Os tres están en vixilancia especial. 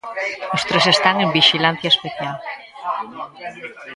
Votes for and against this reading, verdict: 1, 2, rejected